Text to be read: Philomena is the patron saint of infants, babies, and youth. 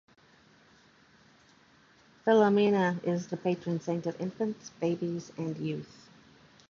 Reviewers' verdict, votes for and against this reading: accepted, 2, 0